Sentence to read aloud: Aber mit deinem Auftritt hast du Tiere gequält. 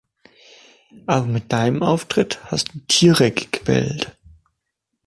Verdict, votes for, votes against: accepted, 2, 0